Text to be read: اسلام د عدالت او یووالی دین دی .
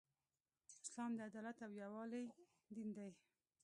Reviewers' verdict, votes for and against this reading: rejected, 0, 2